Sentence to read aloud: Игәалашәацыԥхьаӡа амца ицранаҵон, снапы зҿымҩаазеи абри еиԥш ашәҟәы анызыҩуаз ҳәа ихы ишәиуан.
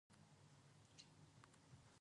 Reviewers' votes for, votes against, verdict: 0, 2, rejected